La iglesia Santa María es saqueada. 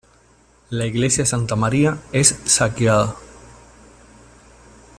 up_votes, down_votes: 2, 0